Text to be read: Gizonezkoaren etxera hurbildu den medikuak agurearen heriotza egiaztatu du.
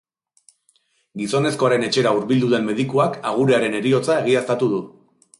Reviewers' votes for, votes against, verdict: 3, 0, accepted